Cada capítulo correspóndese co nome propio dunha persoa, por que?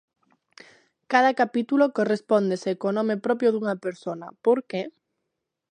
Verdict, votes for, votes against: rejected, 0, 2